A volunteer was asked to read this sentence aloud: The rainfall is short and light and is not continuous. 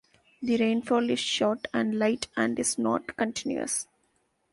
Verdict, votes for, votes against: accepted, 2, 1